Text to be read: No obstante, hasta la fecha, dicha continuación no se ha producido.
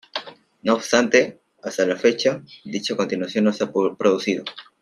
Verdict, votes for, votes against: accepted, 2, 1